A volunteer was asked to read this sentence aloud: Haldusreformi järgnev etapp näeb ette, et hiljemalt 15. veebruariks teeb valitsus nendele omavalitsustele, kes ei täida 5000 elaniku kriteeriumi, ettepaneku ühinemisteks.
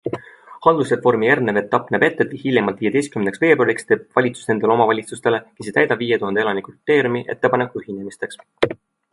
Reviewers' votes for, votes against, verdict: 0, 2, rejected